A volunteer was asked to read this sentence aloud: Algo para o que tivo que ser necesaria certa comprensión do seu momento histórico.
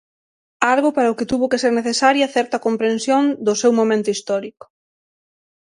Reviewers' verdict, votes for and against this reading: rejected, 0, 6